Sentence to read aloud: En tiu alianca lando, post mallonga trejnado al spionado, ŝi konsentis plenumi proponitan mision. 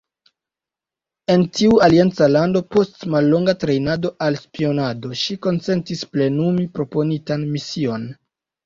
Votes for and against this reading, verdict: 2, 1, accepted